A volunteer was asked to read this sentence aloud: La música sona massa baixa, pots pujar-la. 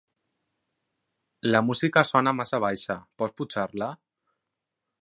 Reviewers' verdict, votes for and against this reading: rejected, 0, 4